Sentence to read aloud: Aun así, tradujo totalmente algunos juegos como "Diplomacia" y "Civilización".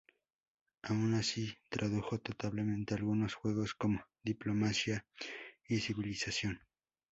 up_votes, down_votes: 4, 2